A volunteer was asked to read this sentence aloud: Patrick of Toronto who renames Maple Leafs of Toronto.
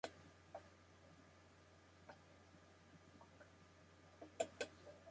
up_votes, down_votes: 0, 2